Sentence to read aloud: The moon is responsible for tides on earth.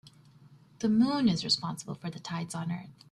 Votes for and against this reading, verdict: 0, 2, rejected